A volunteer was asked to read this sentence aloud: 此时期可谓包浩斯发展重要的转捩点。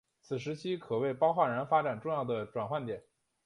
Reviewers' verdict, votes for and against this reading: accepted, 3, 0